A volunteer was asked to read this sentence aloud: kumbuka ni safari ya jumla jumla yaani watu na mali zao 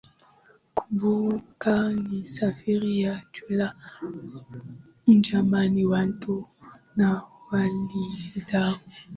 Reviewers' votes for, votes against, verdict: 3, 9, rejected